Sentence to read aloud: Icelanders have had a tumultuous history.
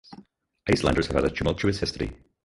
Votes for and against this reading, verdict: 2, 2, rejected